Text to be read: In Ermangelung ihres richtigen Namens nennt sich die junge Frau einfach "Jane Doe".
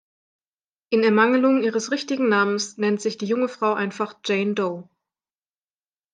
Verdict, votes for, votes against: rejected, 1, 2